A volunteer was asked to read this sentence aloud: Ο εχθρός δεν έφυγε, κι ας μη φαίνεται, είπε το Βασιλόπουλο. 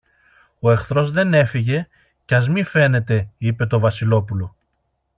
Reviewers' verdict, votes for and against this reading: accepted, 2, 0